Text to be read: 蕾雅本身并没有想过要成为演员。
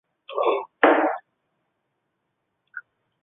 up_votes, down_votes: 1, 2